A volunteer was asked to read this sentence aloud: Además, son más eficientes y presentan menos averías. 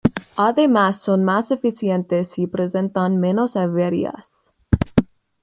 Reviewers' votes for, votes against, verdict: 2, 1, accepted